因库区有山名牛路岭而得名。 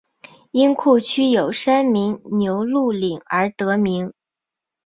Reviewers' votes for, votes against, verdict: 6, 0, accepted